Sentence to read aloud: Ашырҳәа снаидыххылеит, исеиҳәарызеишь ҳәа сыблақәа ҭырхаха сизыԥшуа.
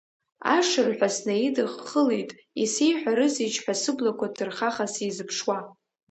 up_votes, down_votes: 0, 2